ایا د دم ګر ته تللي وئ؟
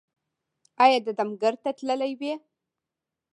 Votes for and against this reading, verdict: 1, 2, rejected